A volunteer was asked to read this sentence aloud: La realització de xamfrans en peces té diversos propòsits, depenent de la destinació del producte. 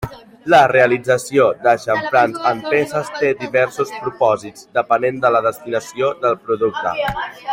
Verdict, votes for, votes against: accepted, 4, 2